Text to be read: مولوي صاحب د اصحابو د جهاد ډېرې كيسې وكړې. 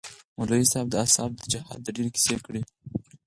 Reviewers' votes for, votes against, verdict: 4, 2, accepted